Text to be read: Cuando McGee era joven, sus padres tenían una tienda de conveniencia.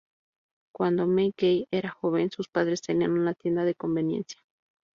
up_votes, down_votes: 0, 2